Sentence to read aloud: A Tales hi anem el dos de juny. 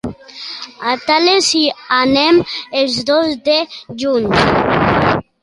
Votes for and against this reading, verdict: 0, 2, rejected